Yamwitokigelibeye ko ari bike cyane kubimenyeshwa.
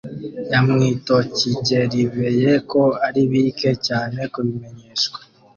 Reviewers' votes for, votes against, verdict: 1, 2, rejected